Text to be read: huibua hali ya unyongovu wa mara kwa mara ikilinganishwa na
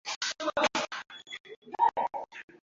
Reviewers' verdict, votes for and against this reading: rejected, 0, 2